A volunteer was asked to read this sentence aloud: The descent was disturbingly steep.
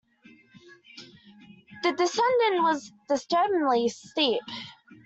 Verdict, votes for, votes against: rejected, 0, 2